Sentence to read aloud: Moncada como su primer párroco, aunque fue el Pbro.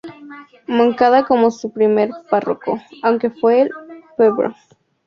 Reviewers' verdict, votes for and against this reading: rejected, 2, 2